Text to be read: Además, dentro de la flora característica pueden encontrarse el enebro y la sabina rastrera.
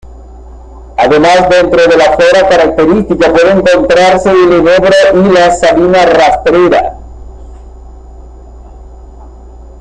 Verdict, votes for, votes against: accepted, 2, 0